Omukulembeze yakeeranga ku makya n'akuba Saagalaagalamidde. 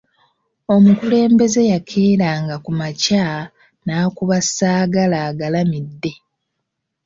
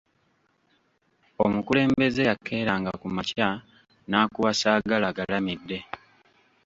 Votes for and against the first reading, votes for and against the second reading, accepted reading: 2, 0, 1, 2, first